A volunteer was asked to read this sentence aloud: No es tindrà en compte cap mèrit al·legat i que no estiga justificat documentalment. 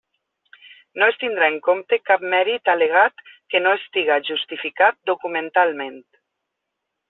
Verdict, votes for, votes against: accepted, 2, 0